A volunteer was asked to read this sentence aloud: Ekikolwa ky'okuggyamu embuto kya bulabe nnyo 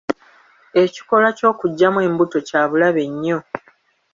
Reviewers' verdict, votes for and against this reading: accepted, 2, 1